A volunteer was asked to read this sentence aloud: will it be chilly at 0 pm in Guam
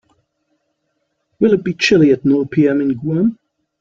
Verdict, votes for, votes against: rejected, 0, 2